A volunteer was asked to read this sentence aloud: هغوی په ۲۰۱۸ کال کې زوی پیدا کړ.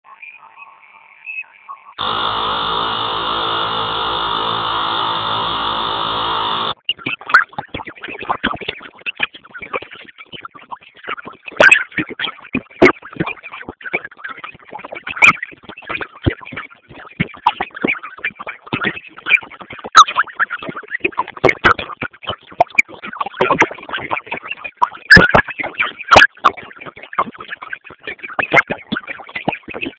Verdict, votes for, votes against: rejected, 0, 2